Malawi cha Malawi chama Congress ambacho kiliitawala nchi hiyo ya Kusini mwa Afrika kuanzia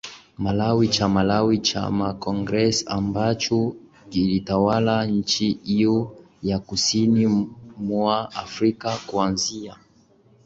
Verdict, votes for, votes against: accepted, 3, 1